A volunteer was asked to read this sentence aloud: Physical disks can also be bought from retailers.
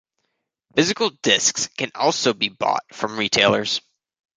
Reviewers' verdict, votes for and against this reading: accepted, 2, 0